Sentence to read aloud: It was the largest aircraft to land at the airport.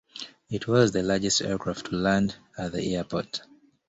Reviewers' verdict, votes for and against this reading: accepted, 2, 0